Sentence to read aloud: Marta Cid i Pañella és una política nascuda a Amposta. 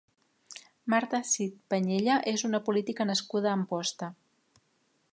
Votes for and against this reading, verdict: 0, 2, rejected